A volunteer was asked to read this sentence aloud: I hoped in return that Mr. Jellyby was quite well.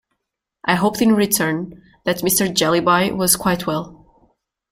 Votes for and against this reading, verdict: 2, 0, accepted